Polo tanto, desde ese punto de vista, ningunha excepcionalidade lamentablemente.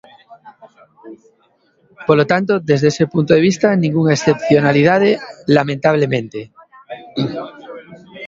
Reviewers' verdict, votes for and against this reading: accepted, 2, 0